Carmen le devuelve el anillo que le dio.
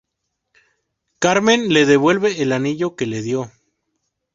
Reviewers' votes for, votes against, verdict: 2, 0, accepted